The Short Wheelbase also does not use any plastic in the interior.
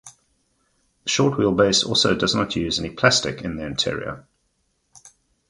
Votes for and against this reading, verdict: 2, 2, rejected